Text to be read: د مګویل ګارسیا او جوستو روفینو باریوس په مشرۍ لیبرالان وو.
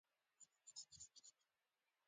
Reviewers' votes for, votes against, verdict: 1, 2, rejected